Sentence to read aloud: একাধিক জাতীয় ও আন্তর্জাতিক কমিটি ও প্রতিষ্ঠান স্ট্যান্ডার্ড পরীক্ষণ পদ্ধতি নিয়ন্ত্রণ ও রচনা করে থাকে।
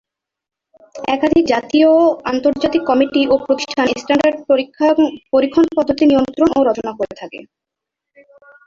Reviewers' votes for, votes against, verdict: 0, 2, rejected